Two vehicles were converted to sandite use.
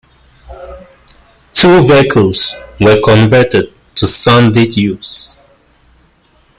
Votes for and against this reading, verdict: 1, 2, rejected